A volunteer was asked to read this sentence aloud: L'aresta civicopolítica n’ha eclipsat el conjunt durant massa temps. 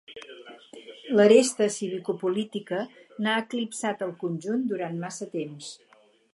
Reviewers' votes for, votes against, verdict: 0, 4, rejected